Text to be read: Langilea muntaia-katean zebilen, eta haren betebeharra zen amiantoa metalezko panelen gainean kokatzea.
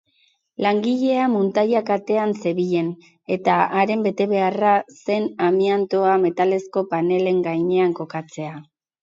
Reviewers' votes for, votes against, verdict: 6, 0, accepted